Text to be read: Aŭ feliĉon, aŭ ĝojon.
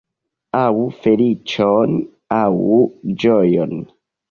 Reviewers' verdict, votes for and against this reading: accepted, 2, 0